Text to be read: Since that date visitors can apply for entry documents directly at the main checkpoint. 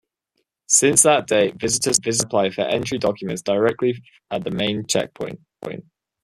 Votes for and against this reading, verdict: 0, 2, rejected